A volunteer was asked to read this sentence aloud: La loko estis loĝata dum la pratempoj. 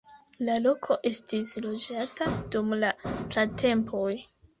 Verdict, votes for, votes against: accepted, 2, 0